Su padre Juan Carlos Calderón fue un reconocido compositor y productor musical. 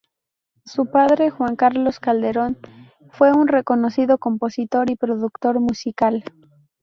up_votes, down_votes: 2, 0